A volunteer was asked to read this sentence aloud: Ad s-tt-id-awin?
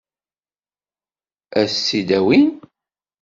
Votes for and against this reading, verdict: 2, 0, accepted